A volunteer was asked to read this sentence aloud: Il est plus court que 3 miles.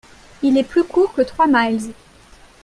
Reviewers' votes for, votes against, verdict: 0, 2, rejected